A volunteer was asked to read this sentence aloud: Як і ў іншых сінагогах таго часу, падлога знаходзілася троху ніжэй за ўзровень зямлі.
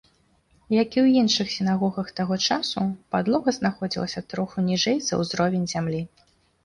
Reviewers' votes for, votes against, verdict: 2, 0, accepted